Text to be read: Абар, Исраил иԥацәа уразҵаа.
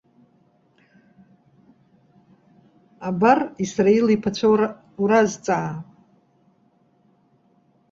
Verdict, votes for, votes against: rejected, 1, 2